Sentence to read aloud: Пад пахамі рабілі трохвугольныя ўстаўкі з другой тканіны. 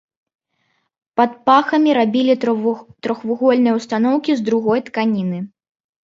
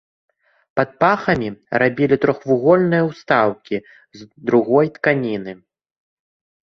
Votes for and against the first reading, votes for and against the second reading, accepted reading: 0, 3, 2, 0, second